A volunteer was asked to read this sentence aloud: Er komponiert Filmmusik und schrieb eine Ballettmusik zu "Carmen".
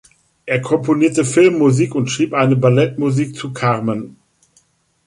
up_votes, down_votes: 1, 2